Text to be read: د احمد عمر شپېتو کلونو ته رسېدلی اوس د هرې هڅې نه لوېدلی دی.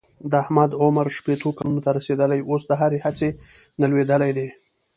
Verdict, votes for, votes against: accepted, 2, 0